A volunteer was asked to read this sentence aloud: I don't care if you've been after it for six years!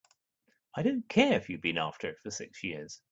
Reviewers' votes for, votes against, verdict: 2, 0, accepted